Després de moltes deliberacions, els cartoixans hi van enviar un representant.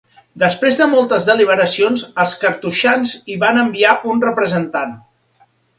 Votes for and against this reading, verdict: 2, 0, accepted